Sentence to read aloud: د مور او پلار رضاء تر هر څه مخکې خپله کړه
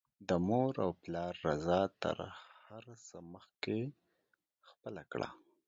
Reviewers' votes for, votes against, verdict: 2, 1, accepted